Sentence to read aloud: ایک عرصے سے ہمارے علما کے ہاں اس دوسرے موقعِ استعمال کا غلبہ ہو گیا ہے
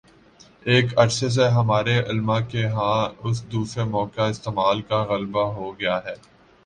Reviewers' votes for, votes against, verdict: 2, 1, accepted